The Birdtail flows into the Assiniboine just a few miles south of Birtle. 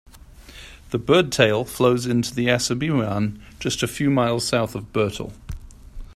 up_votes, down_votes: 0, 2